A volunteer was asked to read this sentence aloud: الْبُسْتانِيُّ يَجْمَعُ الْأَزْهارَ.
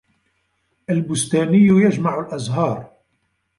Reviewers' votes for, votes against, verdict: 2, 0, accepted